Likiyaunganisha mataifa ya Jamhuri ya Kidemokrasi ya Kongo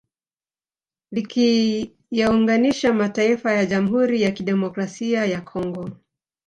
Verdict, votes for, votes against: rejected, 2, 4